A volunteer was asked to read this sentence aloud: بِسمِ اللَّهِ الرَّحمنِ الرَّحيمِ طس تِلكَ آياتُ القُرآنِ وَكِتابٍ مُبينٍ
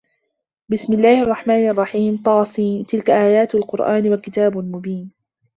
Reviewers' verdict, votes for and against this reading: rejected, 1, 2